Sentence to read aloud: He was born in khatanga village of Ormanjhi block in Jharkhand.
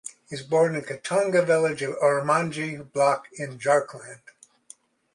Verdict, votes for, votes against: rejected, 1, 2